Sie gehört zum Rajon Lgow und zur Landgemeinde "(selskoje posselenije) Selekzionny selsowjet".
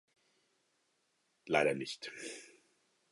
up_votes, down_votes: 0, 4